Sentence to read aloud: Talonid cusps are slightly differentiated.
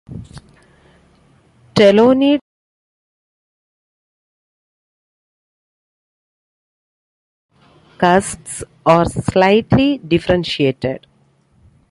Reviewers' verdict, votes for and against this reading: rejected, 0, 2